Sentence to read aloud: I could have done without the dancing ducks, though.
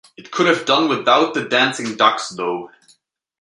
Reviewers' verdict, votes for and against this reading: accepted, 2, 1